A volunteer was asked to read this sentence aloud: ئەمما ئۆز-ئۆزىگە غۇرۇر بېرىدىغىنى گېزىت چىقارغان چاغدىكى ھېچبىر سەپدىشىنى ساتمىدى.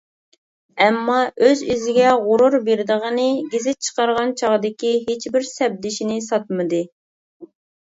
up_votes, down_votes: 2, 0